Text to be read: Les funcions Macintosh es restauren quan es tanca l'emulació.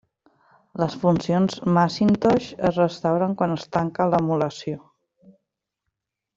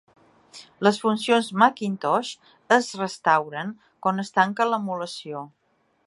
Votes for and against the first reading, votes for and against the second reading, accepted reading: 1, 2, 3, 0, second